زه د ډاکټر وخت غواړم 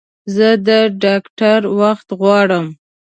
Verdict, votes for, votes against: accepted, 2, 0